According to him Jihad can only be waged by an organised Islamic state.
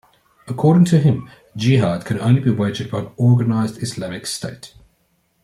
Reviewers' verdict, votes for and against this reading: accepted, 2, 1